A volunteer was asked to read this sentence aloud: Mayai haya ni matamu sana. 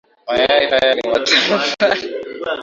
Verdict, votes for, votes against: rejected, 0, 2